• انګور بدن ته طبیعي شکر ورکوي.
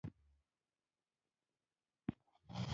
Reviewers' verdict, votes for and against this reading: rejected, 0, 2